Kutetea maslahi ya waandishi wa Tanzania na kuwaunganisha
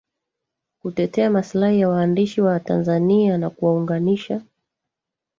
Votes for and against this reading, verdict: 1, 2, rejected